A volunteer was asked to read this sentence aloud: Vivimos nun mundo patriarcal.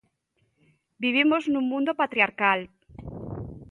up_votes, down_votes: 2, 0